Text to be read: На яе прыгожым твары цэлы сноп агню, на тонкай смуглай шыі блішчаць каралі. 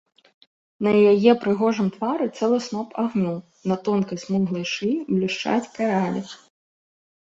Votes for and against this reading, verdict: 2, 0, accepted